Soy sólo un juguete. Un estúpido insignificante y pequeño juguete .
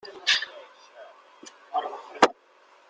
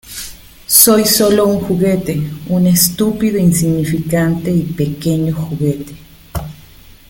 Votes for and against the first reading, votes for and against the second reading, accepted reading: 0, 2, 2, 0, second